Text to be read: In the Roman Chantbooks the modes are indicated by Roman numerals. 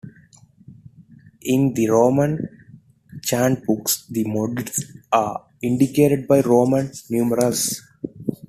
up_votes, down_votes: 2, 0